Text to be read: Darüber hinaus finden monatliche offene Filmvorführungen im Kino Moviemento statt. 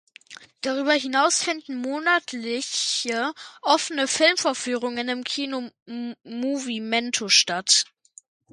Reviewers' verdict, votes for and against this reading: accepted, 2, 1